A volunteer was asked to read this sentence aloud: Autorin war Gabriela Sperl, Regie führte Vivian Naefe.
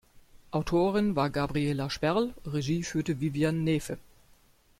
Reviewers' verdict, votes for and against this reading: accepted, 2, 0